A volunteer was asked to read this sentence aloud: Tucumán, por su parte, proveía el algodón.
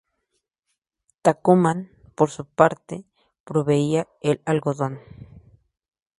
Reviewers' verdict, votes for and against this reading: rejected, 0, 2